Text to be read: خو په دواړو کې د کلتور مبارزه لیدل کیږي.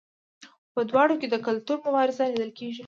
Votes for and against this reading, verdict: 2, 0, accepted